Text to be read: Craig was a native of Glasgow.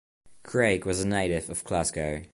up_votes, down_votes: 2, 0